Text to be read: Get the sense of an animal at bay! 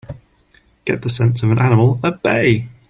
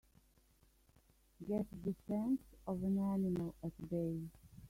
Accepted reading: first